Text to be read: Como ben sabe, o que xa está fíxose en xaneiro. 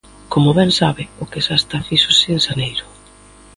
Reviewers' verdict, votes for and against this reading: accepted, 2, 0